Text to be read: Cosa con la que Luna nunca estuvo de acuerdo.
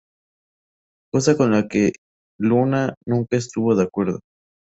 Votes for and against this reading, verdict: 2, 0, accepted